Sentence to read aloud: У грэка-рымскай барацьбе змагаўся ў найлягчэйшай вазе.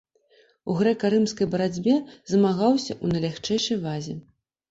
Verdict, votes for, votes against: rejected, 1, 2